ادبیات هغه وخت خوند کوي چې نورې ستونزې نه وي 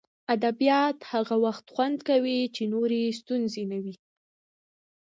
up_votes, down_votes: 0, 2